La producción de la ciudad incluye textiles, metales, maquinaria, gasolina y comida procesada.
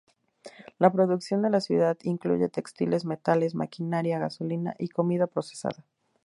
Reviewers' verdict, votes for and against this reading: accepted, 2, 0